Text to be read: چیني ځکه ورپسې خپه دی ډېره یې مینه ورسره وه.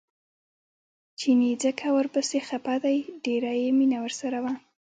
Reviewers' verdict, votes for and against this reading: rejected, 0, 2